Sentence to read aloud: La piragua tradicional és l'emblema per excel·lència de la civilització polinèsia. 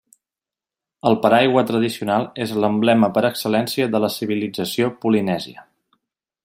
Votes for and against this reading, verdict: 0, 2, rejected